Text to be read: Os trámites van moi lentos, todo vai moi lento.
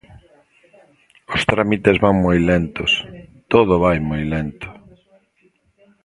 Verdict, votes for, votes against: rejected, 1, 2